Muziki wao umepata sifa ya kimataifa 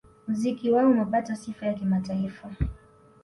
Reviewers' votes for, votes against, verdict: 2, 0, accepted